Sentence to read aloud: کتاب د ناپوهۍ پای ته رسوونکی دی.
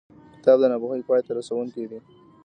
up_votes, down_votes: 2, 1